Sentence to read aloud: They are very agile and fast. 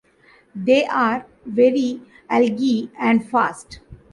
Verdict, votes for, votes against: rejected, 1, 2